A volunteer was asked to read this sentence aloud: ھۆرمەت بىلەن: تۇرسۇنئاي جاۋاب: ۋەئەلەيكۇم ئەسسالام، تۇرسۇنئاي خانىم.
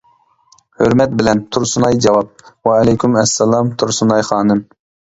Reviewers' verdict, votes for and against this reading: accepted, 2, 0